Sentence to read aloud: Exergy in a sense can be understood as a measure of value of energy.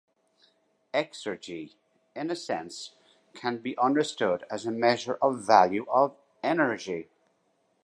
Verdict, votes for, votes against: accepted, 2, 0